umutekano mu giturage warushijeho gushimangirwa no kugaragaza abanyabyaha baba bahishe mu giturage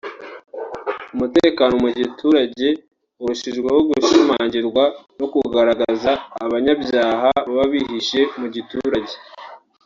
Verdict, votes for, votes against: rejected, 0, 2